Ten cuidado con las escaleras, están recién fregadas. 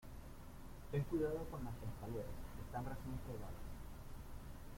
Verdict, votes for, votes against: rejected, 1, 2